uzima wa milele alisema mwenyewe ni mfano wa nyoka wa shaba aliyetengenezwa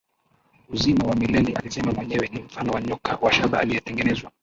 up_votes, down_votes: 0, 2